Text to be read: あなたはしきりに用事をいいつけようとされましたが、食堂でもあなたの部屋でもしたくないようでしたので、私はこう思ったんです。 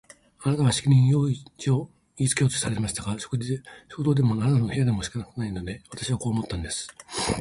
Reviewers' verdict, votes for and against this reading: rejected, 0, 2